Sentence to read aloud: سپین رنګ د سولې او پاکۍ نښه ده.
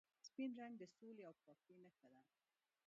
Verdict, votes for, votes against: accepted, 2, 0